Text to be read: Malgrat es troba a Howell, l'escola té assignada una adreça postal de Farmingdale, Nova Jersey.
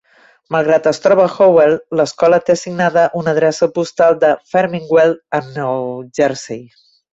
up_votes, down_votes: 0, 2